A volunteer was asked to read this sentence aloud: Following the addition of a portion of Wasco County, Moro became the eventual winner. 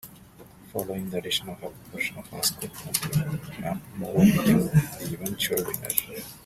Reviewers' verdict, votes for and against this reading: rejected, 1, 2